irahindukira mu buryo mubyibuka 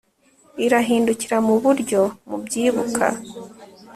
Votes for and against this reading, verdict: 3, 0, accepted